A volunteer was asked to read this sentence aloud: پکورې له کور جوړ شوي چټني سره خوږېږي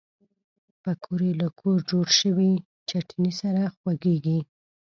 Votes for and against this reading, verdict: 2, 0, accepted